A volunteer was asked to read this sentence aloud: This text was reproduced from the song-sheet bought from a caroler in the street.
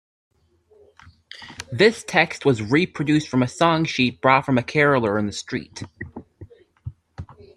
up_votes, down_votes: 0, 2